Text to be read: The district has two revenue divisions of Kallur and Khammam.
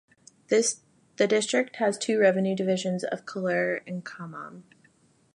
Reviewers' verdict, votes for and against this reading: rejected, 1, 2